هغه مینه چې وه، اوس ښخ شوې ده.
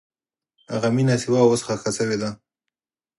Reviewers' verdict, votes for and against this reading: accepted, 4, 0